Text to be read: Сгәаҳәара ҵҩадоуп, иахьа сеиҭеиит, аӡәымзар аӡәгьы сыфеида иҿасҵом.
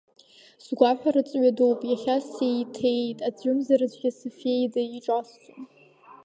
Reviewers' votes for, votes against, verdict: 0, 2, rejected